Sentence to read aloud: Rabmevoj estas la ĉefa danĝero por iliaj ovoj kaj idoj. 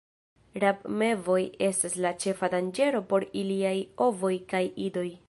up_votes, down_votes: 2, 0